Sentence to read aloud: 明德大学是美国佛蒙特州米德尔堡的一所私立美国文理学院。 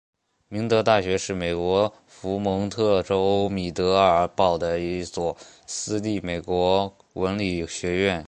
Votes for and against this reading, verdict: 2, 0, accepted